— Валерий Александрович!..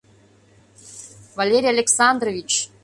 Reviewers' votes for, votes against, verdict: 2, 0, accepted